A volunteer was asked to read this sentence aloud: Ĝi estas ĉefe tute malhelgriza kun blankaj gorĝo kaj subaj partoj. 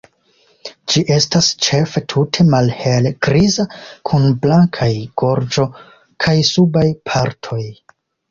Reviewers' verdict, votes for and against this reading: accepted, 2, 0